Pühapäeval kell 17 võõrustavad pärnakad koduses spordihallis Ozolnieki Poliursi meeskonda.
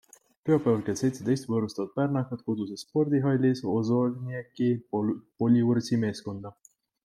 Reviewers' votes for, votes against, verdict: 0, 2, rejected